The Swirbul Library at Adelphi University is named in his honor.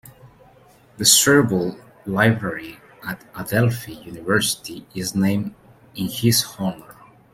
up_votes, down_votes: 0, 2